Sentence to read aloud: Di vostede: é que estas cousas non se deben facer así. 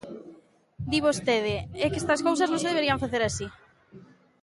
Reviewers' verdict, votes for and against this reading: rejected, 0, 2